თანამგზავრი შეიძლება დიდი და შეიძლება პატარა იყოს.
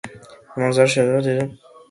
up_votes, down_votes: 0, 2